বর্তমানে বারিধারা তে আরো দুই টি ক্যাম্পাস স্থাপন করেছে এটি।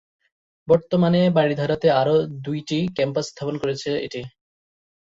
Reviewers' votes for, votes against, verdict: 19, 1, accepted